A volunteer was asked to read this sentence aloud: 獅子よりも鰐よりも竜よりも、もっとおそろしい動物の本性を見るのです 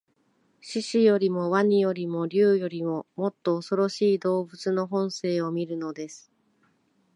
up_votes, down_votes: 2, 1